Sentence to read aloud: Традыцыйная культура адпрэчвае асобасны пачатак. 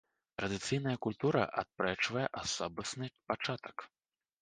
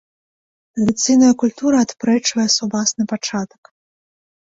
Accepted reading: first